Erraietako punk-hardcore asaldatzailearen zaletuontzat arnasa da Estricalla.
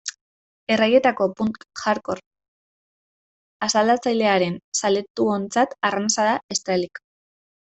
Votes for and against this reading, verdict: 0, 2, rejected